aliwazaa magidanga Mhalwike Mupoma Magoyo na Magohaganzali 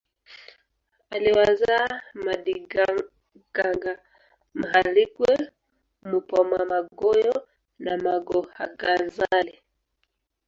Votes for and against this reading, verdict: 0, 2, rejected